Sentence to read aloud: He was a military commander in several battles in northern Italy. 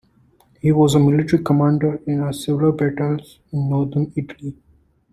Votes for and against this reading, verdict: 2, 1, accepted